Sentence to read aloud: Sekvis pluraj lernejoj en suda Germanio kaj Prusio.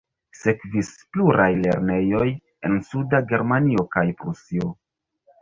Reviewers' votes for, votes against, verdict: 0, 2, rejected